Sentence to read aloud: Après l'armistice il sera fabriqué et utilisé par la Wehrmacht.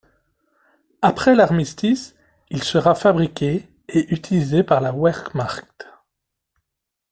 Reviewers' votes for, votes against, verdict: 0, 2, rejected